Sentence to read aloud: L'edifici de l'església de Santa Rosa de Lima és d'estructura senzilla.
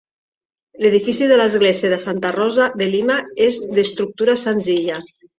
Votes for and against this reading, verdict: 2, 0, accepted